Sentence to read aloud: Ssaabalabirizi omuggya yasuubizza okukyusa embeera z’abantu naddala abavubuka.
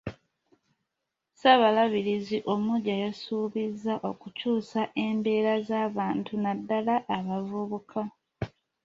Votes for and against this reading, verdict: 2, 0, accepted